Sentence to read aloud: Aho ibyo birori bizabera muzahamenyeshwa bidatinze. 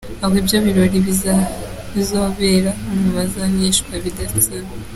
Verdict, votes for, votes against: rejected, 1, 2